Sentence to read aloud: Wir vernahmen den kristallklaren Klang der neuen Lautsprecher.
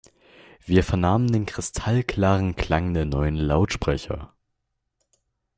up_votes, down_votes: 2, 0